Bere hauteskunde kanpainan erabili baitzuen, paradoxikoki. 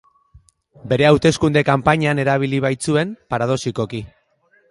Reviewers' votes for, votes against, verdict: 2, 0, accepted